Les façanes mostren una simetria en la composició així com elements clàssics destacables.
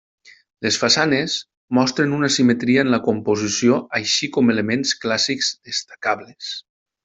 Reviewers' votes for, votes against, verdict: 3, 0, accepted